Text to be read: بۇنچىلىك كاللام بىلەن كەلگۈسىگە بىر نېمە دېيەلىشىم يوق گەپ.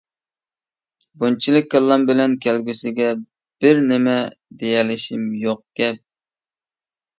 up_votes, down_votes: 2, 0